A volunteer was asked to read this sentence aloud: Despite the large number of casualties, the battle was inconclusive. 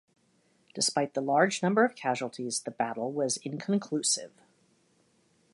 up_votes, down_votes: 2, 0